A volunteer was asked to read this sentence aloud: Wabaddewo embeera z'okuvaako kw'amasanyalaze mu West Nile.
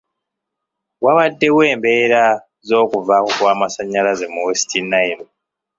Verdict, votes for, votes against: accepted, 2, 0